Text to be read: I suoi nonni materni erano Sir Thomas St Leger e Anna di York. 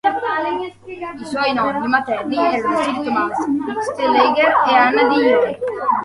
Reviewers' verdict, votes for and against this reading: rejected, 0, 2